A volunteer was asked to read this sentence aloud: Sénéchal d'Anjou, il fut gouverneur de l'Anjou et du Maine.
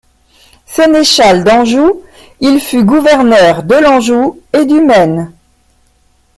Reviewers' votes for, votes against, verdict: 2, 0, accepted